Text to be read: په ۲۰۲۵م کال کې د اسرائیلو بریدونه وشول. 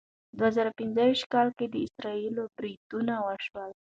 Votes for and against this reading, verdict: 0, 2, rejected